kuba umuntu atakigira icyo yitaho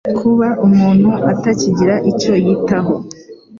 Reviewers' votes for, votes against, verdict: 2, 0, accepted